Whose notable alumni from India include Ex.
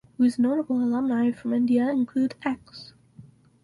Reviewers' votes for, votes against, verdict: 2, 2, rejected